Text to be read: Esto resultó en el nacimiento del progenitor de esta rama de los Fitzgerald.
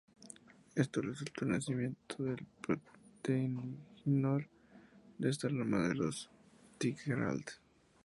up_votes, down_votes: 0, 2